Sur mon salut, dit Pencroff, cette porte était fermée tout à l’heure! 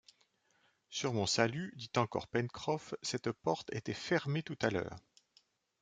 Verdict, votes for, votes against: rejected, 1, 2